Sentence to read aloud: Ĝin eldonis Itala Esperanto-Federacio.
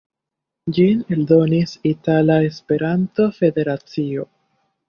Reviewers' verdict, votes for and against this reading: rejected, 1, 2